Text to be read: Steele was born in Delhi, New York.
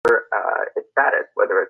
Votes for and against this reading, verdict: 0, 2, rejected